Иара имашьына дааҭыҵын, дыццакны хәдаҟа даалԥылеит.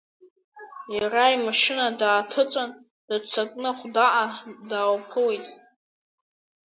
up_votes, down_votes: 1, 2